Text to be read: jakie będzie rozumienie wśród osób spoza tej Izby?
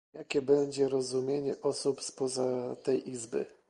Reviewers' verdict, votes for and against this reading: rejected, 1, 2